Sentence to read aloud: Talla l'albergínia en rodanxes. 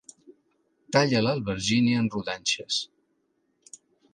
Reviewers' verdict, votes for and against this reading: accepted, 2, 0